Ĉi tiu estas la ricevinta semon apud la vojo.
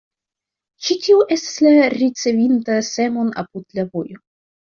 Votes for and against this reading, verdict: 1, 2, rejected